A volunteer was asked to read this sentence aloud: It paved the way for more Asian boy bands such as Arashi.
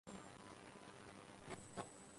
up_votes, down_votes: 0, 4